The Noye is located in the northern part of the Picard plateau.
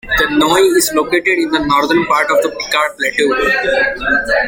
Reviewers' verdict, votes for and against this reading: rejected, 0, 2